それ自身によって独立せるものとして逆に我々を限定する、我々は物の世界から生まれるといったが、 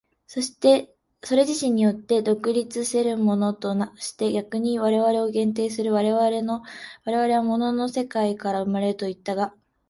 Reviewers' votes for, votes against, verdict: 1, 2, rejected